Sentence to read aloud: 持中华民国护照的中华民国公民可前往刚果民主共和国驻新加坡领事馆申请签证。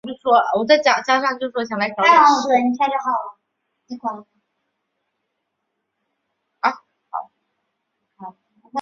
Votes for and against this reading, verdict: 0, 3, rejected